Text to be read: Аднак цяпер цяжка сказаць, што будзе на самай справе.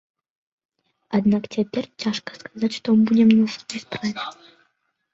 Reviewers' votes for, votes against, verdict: 0, 2, rejected